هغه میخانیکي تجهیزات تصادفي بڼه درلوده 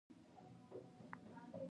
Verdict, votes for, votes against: rejected, 1, 2